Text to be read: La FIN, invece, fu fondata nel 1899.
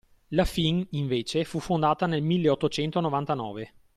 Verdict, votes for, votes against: rejected, 0, 2